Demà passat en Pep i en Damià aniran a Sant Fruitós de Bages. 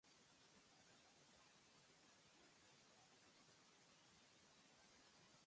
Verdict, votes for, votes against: rejected, 0, 2